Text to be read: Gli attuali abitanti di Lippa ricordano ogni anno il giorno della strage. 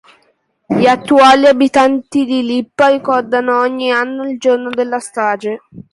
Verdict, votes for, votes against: accepted, 2, 1